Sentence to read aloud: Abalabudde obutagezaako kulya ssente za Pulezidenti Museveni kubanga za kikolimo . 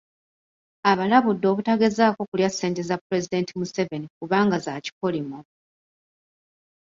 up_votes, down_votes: 2, 0